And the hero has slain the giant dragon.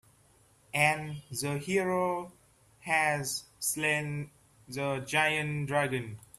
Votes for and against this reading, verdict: 0, 2, rejected